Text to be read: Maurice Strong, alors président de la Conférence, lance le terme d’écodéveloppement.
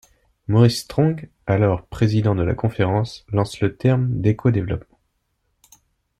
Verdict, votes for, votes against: rejected, 0, 2